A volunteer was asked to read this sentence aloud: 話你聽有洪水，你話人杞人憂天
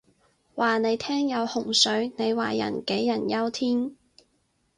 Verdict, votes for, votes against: accepted, 4, 0